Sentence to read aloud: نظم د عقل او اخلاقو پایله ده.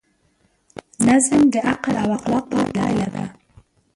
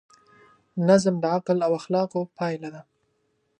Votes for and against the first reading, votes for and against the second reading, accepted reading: 3, 4, 2, 0, second